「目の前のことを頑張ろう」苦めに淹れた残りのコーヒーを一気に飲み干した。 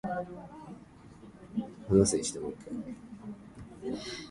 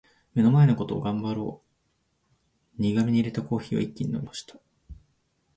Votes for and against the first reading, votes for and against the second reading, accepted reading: 1, 5, 2, 0, second